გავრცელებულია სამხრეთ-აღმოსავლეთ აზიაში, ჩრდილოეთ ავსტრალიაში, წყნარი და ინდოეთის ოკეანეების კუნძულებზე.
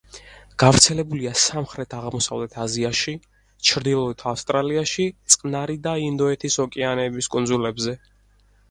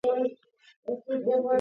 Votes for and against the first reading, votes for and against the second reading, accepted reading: 4, 0, 0, 2, first